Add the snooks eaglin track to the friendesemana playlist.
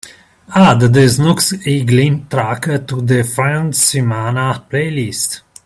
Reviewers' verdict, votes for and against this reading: accepted, 2, 0